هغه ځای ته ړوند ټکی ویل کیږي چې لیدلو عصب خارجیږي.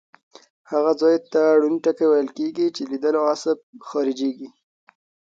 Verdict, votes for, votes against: accepted, 2, 0